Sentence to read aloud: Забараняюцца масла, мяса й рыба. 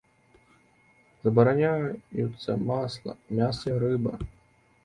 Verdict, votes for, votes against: rejected, 1, 2